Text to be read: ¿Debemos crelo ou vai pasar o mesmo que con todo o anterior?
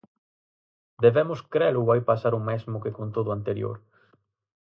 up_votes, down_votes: 4, 0